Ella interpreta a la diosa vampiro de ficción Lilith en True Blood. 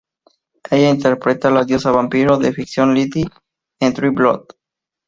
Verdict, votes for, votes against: rejected, 0, 2